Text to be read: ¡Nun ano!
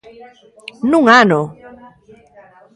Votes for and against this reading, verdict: 1, 2, rejected